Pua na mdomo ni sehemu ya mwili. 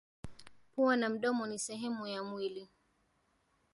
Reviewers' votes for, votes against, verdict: 1, 2, rejected